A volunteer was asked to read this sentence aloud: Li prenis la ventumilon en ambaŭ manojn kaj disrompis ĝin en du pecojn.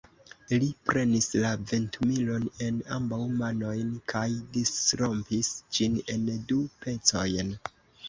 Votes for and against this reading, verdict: 0, 2, rejected